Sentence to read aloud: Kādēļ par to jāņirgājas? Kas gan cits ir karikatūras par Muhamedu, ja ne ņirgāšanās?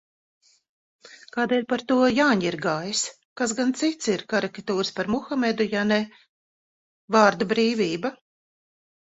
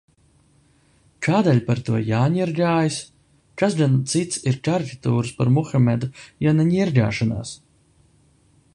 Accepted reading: second